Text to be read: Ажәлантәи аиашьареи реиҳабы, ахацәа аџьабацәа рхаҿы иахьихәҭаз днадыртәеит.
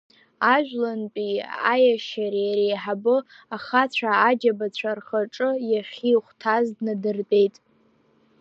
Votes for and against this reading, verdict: 1, 2, rejected